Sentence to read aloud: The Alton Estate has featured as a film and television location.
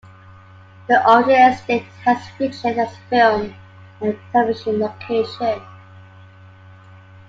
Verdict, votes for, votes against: rejected, 1, 2